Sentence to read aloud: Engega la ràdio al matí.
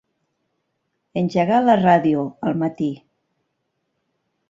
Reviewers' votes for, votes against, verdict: 1, 3, rejected